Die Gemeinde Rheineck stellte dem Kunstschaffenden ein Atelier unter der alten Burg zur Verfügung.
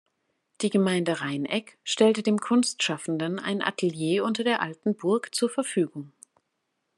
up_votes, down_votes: 2, 0